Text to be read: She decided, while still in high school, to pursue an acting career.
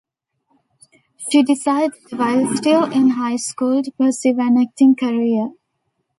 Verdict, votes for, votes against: accepted, 2, 0